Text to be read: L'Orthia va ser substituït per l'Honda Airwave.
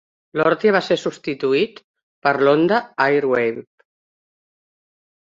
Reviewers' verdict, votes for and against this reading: accepted, 2, 0